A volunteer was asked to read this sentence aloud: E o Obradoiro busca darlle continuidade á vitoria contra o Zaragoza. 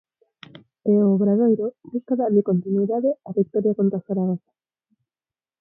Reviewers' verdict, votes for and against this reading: rejected, 2, 4